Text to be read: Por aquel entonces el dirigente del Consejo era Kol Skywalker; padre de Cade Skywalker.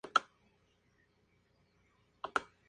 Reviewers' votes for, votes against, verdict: 0, 2, rejected